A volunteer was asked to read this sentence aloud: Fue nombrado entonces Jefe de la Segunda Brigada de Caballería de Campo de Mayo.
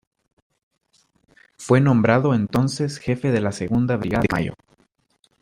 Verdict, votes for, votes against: rejected, 0, 2